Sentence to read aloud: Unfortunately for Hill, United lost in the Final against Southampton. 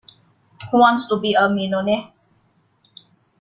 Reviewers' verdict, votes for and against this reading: rejected, 0, 2